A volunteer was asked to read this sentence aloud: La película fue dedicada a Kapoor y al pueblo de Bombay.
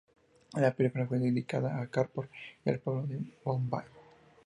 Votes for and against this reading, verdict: 0, 2, rejected